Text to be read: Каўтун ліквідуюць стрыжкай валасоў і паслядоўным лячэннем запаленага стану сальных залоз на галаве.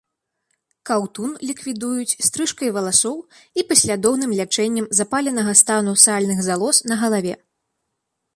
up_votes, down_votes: 2, 0